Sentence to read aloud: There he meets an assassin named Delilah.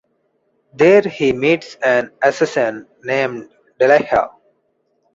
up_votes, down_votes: 2, 0